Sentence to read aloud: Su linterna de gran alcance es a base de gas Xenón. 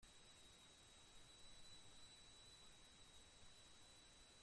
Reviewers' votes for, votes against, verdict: 0, 2, rejected